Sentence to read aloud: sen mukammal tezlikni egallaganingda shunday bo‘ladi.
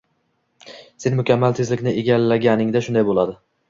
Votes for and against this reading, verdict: 2, 0, accepted